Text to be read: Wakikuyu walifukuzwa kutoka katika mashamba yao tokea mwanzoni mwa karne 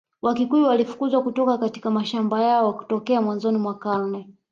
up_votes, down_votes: 2, 0